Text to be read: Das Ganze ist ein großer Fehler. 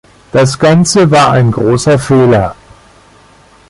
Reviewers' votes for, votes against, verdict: 0, 2, rejected